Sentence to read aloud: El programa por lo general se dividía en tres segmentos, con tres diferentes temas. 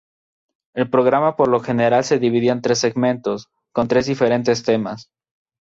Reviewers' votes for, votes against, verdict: 2, 0, accepted